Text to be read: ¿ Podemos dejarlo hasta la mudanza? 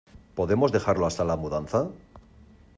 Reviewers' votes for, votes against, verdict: 2, 0, accepted